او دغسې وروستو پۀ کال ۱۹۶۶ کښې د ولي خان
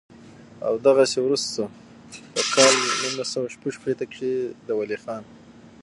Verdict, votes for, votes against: rejected, 0, 2